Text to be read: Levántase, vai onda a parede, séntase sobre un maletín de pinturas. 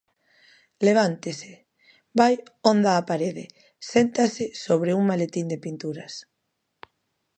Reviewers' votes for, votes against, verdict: 0, 2, rejected